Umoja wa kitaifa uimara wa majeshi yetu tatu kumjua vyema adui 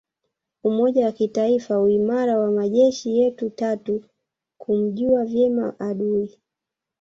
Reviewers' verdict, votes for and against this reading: rejected, 1, 2